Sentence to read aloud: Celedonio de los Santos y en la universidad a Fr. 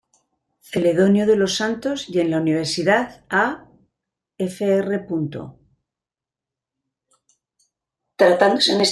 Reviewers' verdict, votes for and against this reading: rejected, 0, 2